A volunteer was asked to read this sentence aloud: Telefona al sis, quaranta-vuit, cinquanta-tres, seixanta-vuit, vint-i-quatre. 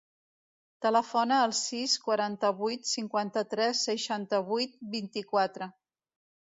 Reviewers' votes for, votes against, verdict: 3, 0, accepted